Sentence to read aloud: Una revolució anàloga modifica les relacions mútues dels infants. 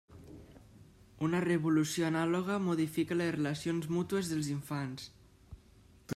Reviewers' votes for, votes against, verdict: 1, 2, rejected